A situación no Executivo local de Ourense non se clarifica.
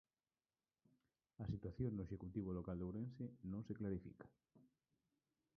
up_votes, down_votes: 1, 2